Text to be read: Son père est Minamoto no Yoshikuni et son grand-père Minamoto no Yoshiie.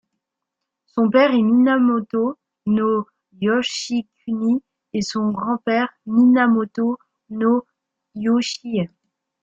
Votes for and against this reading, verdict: 2, 0, accepted